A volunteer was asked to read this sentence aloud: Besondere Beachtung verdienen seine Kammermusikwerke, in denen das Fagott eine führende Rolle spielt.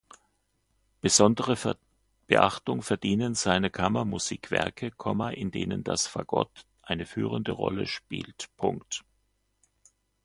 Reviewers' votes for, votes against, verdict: 0, 2, rejected